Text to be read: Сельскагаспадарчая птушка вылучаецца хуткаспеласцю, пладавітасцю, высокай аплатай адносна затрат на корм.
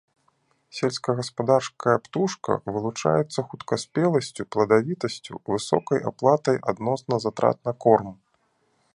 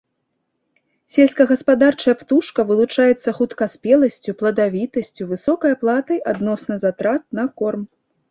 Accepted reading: second